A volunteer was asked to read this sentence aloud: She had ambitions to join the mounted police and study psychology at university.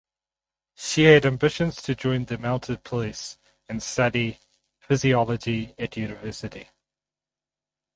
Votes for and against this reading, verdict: 0, 4, rejected